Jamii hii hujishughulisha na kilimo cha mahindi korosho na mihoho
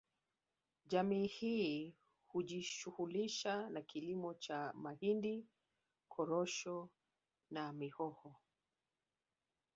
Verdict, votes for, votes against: rejected, 0, 2